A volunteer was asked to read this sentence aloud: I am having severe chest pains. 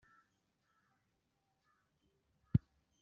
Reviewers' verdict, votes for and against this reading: rejected, 0, 2